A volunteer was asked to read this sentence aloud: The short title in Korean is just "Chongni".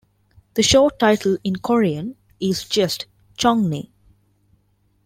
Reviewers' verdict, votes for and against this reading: rejected, 0, 2